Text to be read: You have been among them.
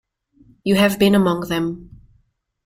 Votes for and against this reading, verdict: 2, 0, accepted